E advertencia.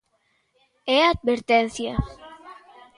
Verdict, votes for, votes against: rejected, 0, 2